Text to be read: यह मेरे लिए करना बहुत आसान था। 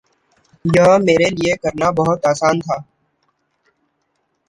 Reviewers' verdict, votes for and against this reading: rejected, 0, 2